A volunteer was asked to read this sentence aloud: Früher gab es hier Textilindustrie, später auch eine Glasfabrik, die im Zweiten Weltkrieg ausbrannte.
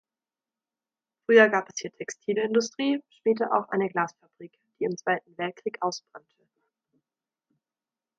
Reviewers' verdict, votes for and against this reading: accepted, 2, 0